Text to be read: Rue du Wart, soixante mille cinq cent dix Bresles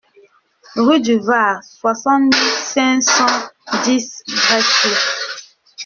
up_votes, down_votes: 0, 2